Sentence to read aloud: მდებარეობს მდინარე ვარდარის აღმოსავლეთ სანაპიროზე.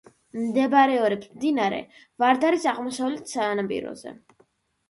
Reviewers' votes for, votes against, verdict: 0, 2, rejected